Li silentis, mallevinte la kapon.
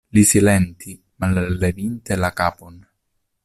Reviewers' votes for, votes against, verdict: 1, 2, rejected